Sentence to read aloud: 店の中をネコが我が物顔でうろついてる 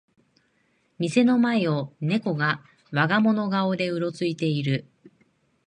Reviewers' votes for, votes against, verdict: 1, 2, rejected